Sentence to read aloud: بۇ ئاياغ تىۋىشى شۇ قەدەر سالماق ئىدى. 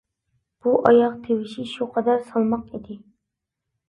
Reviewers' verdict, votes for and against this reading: accepted, 2, 0